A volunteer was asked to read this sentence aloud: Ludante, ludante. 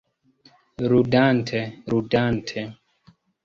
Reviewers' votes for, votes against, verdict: 1, 2, rejected